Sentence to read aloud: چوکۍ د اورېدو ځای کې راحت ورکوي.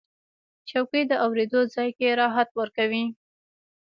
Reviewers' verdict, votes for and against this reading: rejected, 1, 2